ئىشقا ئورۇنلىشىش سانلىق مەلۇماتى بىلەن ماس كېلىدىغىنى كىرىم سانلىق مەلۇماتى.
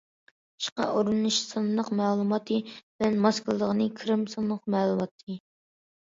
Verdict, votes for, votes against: accepted, 2, 0